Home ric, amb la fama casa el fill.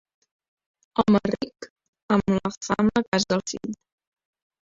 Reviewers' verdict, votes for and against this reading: rejected, 0, 2